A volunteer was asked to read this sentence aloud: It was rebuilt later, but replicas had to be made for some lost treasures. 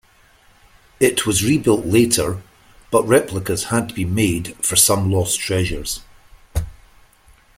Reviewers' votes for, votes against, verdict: 2, 0, accepted